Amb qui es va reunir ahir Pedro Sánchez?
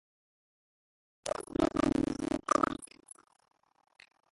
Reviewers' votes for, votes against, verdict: 0, 2, rejected